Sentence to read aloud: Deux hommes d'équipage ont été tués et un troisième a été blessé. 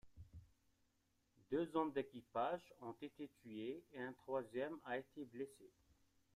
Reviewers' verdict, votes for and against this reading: rejected, 1, 2